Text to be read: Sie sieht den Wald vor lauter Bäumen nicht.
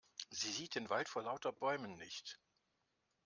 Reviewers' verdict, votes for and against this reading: accepted, 2, 0